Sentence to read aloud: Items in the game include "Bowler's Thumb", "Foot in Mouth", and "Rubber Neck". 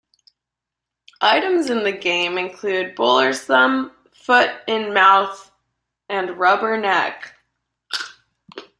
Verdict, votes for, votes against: accepted, 2, 1